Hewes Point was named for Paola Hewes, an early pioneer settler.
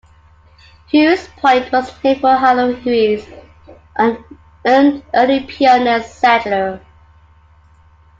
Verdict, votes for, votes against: accepted, 2, 0